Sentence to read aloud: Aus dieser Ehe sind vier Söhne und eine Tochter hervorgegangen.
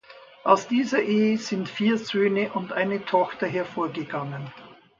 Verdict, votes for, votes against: accepted, 2, 0